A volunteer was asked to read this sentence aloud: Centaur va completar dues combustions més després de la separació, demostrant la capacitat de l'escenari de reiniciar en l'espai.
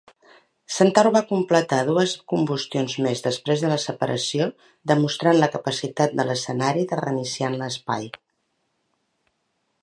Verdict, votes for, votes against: rejected, 1, 2